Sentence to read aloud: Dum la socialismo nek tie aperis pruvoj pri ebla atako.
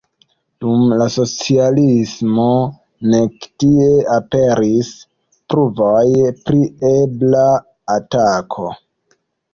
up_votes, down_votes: 1, 2